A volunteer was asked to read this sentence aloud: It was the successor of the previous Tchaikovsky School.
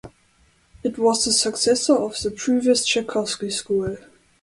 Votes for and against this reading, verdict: 2, 0, accepted